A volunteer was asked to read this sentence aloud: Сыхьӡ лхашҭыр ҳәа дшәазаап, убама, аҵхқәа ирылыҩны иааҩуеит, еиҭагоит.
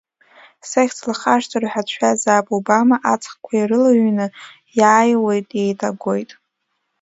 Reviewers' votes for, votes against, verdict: 0, 2, rejected